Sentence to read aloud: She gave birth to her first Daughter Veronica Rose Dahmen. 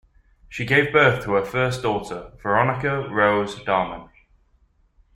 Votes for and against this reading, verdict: 3, 0, accepted